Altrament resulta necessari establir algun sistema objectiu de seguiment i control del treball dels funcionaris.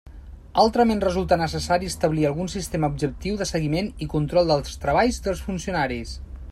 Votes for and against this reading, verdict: 0, 2, rejected